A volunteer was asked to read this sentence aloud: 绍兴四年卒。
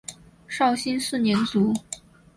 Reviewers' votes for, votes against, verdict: 4, 0, accepted